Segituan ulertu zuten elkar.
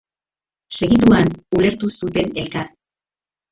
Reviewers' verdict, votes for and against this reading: rejected, 0, 4